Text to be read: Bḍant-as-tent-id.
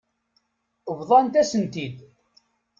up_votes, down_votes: 2, 0